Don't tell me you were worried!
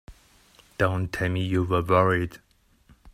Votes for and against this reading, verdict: 2, 0, accepted